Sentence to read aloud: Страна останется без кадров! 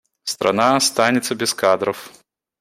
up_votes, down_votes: 2, 0